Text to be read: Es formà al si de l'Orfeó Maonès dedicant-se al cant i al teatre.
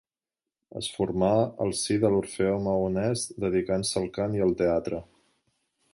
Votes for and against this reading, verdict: 3, 0, accepted